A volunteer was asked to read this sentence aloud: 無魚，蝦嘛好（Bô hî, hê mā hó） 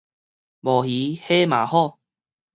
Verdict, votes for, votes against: rejected, 2, 2